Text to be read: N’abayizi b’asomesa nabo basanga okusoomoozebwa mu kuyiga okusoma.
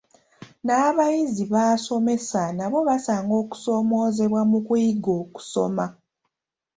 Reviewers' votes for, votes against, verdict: 2, 1, accepted